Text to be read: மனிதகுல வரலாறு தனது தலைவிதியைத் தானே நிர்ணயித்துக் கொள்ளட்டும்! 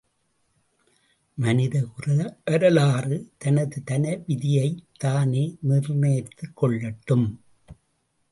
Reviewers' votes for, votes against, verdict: 1, 2, rejected